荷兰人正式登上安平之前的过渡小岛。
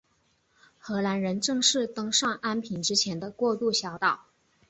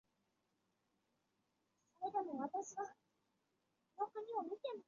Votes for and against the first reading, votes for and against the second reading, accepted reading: 3, 0, 1, 4, first